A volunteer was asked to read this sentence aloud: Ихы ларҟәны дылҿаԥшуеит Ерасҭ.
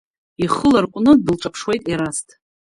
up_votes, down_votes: 1, 2